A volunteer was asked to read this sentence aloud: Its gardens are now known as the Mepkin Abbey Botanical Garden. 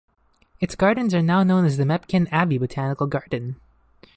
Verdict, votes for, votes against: accepted, 2, 0